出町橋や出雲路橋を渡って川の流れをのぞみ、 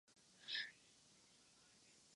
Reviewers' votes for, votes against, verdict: 0, 2, rejected